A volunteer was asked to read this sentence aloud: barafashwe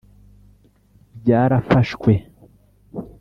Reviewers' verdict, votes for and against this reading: rejected, 1, 2